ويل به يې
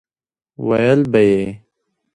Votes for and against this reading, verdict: 1, 2, rejected